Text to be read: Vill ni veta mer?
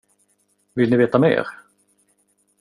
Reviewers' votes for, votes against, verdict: 2, 0, accepted